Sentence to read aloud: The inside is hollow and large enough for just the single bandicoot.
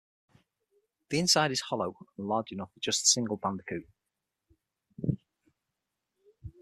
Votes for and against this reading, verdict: 6, 0, accepted